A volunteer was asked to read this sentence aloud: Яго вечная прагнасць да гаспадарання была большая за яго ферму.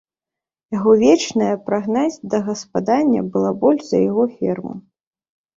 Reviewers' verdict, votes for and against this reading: rejected, 1, 2